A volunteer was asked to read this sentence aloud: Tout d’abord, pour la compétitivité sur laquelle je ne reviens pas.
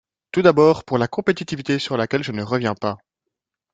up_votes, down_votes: 2, 0